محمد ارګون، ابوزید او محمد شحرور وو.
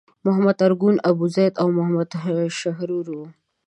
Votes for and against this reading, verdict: 2, 0, accepted